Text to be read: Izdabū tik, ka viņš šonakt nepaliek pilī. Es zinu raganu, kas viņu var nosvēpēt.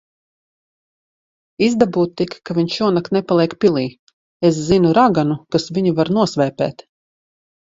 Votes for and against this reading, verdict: 2, 0, accepted